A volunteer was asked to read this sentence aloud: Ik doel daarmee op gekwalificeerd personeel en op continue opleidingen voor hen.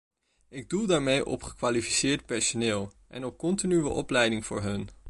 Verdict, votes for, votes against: rejected, 1, 2